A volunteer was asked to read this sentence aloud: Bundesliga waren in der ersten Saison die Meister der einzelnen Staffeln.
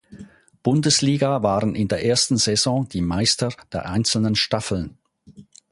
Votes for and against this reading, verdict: 4, 0, accepted